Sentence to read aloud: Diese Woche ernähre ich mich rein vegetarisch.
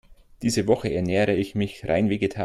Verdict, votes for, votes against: rejected, 0, 2